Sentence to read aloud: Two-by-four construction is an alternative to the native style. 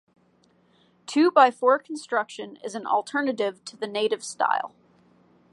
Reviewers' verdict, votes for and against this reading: accepted, 2, 0